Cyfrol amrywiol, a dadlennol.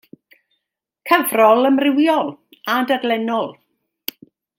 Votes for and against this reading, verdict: 2, 0, accepted